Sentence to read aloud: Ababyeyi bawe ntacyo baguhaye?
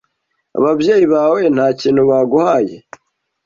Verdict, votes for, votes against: rejected, 1, 2